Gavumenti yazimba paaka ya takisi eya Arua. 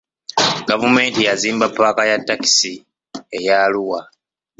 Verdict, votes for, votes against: rejected, 0, 2